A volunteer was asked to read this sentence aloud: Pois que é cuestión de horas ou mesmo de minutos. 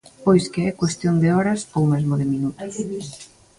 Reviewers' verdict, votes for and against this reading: rejected, 1, 2